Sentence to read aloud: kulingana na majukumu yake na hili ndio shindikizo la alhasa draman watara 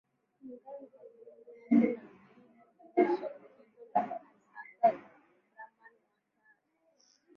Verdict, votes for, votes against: rejected, 0, 2